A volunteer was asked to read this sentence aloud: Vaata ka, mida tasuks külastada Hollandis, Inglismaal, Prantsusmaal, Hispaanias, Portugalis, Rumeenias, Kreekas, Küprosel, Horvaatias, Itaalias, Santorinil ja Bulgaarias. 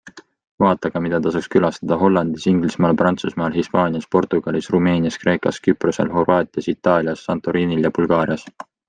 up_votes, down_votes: 2, 0